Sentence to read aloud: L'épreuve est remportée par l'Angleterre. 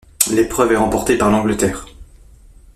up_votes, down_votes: 2, 0